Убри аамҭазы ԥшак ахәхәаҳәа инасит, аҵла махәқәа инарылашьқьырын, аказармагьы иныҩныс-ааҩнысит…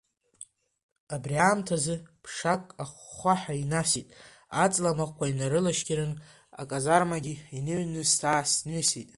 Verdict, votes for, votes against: accepted, 2, 1